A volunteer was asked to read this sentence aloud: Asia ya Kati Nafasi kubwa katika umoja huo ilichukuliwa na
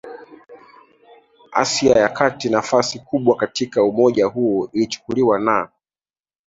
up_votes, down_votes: 2, 0